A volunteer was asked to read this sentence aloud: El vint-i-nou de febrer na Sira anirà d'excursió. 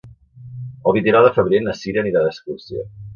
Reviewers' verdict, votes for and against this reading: rejected, 0, 2